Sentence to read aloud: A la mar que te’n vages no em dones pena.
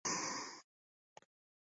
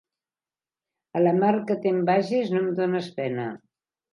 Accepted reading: second